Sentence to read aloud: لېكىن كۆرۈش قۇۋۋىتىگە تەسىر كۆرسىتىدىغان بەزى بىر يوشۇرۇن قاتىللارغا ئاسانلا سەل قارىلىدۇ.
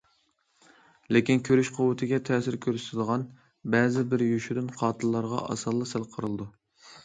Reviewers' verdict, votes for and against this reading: accepted, 2, 0